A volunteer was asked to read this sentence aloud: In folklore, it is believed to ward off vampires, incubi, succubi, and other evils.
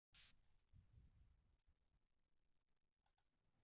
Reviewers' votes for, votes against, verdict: 1, 2, rejected